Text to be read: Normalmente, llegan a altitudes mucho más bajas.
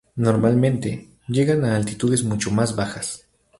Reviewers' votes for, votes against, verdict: 6, 0, accepted